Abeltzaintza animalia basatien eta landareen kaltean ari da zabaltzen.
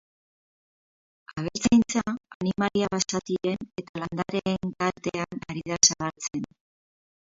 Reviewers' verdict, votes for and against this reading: rejected, 0, 2